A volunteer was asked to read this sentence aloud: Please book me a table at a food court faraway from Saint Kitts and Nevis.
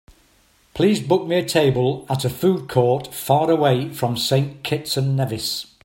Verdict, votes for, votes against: accepted, 3, 0